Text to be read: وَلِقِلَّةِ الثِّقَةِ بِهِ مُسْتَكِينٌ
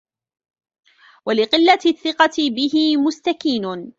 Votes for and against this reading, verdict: 1, 2, rejected